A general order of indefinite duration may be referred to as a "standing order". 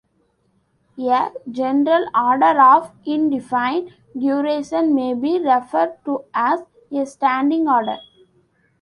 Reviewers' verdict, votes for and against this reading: rejected, 1, 2